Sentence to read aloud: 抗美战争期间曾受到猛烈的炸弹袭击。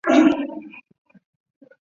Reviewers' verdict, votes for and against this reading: rejected, 0, 2